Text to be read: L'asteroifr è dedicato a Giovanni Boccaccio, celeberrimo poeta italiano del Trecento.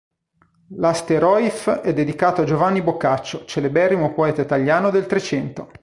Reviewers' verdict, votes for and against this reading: rejected, 1, 2